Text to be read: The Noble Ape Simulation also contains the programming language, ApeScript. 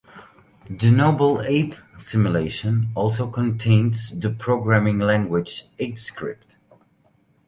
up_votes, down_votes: 2, 0